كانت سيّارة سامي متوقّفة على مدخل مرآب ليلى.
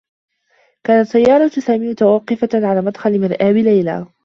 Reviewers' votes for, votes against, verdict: 0, 2, rejected